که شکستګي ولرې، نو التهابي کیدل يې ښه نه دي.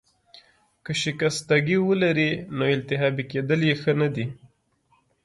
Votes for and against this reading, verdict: 2, 0, accepted